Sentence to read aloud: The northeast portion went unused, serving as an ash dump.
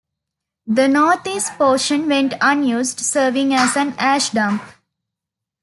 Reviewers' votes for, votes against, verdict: 2, 0, accepted